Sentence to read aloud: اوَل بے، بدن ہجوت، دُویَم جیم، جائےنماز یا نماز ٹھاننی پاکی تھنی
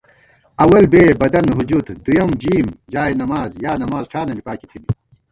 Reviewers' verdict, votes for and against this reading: rejected, 0, 2